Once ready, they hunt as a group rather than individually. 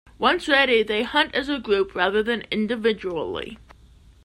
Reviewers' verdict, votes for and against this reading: accepted, 2, 0